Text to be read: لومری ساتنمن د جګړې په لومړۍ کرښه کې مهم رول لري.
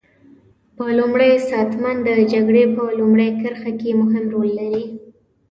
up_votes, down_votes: 0, 2